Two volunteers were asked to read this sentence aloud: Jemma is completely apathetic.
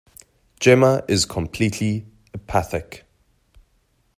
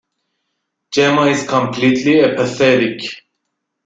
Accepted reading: second